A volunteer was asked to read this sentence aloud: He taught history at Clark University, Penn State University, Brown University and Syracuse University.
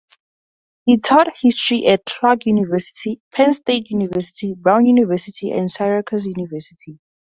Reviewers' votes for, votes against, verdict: 4, 4, rejected